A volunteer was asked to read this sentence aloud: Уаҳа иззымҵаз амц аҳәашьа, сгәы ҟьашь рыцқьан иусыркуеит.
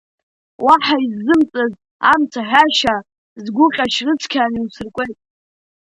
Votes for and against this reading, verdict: 2, 0, accepted